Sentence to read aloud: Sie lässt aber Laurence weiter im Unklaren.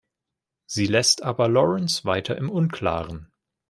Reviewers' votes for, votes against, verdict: 2, 0, accepted